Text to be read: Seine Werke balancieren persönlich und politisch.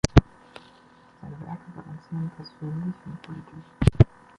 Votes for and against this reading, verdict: 2, 1, accepted